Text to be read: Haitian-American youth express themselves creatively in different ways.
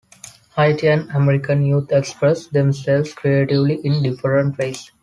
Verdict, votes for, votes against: accepted, 2, 0